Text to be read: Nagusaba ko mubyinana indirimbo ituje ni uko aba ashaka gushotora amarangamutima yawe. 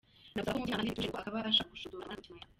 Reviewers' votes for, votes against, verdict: 0, 2, rejected